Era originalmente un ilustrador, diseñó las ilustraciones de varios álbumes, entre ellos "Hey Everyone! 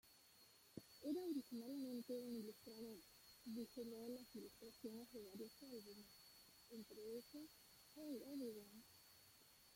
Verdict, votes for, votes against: rejected, 0, 2